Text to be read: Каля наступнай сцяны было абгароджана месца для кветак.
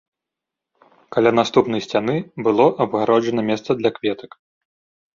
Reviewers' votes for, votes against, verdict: 2, 0, accepted